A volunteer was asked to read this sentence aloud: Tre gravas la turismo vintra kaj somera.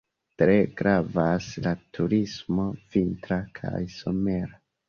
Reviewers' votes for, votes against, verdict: 2, 1, accepted